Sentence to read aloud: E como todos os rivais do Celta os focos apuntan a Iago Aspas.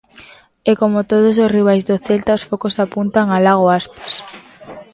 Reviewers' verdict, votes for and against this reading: rejected, 0, 2